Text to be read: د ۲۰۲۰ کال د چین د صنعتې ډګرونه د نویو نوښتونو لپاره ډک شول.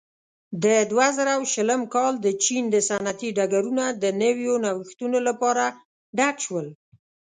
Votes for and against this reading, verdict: 0, 2, rejected